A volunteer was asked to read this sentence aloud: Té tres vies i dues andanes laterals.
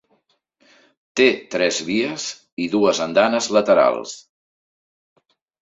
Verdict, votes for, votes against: accepted, 3, 0